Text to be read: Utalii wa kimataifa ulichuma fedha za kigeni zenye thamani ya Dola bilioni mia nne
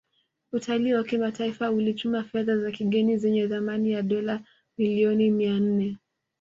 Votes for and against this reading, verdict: 2, 0, accepted